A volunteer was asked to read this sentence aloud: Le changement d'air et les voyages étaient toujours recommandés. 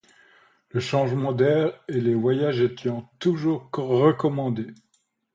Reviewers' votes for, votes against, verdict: 0, 2, rejected